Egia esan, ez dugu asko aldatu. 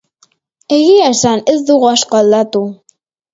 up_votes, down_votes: 4, 0